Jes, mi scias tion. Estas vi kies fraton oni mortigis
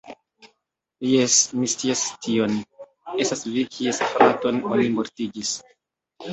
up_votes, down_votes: 2, 0